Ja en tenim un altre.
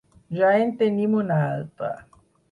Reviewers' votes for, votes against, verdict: 4, 2, accepted